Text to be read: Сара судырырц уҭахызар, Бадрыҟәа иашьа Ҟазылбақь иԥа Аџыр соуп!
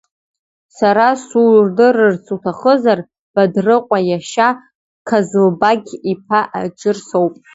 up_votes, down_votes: 1, 2